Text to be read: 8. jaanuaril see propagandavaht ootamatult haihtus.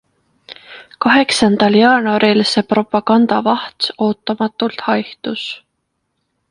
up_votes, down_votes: 0, 2